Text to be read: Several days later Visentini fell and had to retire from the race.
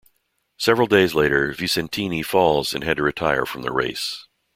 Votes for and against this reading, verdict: 1, 2, rejected